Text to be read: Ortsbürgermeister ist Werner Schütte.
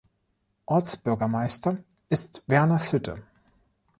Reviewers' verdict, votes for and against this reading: rejected, 2, 3